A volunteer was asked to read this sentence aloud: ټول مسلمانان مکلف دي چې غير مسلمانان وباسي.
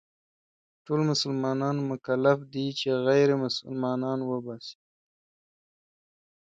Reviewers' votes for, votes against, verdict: 2, 0, accepted